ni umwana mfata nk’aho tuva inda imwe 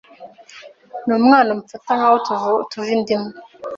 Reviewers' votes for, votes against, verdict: 2, 3, rejected